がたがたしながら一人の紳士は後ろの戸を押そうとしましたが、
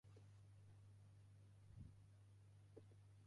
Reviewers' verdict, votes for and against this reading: rejected, 0, 2